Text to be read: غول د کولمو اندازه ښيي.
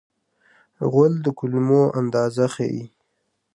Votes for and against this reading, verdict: 2, 1, accepted